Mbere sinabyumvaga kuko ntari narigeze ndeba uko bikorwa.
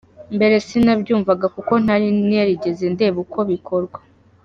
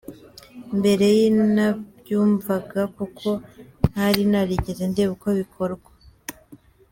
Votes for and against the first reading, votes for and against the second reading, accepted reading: 2, 0, 1, 2, first